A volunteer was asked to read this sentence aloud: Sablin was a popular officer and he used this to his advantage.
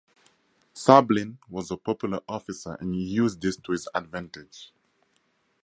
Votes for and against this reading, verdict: 2, 0, accepted